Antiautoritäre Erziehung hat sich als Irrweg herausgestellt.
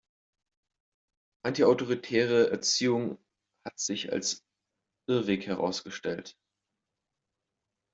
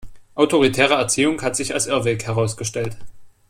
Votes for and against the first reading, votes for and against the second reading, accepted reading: 2, 0, 1, 2, first